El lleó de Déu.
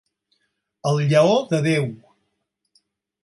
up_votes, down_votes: 6, 0